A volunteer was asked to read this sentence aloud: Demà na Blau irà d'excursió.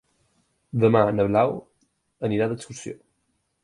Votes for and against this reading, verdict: 2, 4, rejected